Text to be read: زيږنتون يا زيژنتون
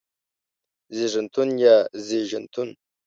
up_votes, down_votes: 0, 2